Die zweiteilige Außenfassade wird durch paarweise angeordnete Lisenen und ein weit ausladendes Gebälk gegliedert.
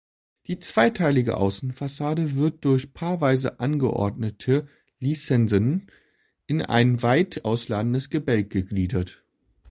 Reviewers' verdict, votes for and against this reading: rejected, 1, 2